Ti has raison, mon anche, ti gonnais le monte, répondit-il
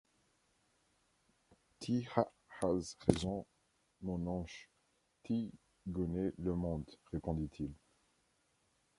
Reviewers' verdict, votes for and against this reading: rejected, 0, 2